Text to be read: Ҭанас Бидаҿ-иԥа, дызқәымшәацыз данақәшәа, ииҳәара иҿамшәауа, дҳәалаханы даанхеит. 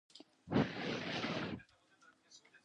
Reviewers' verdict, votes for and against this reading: rejected, 0, 2